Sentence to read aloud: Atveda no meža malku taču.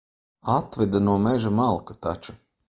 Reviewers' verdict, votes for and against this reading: accepted, 2, 0